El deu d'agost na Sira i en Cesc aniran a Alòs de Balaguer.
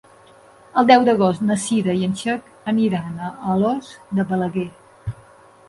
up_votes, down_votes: 1, 2